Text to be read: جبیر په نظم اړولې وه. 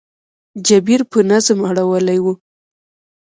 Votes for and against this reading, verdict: 3, 2, accepted